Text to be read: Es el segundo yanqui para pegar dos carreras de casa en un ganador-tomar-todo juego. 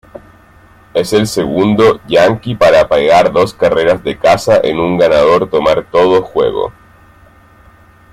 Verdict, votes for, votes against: accepted, 2, 0